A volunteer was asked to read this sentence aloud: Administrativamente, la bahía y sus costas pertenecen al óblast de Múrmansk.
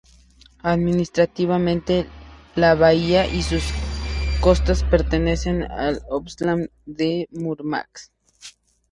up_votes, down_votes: 0, 2